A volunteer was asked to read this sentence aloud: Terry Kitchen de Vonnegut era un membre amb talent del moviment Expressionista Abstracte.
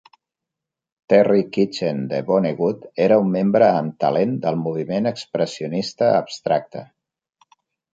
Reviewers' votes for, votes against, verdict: 3, 0, accepted